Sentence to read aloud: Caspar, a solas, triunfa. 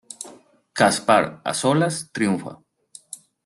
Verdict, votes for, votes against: accepted, 2, 0